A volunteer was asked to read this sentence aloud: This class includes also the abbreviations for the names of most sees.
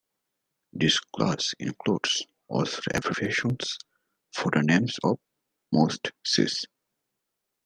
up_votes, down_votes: 0, 2